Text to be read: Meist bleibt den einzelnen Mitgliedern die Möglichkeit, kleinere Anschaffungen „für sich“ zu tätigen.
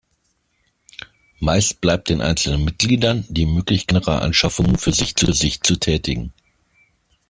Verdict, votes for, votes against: rejected, 0, 2